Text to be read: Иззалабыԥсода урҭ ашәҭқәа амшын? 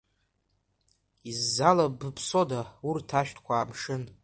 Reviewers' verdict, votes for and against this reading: accepted, 2, 1